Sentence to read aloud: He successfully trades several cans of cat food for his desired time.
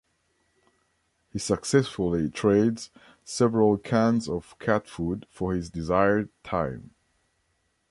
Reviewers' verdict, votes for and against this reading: accepted, 2, 0